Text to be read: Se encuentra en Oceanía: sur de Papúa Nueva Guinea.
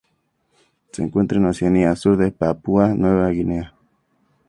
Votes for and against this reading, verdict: 2, 0, accepted